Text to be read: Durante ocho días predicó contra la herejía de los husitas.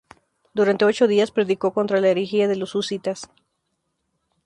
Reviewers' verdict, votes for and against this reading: accepted, 2, 0